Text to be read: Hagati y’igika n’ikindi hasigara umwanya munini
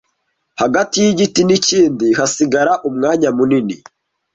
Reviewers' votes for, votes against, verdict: 0, 2, rejected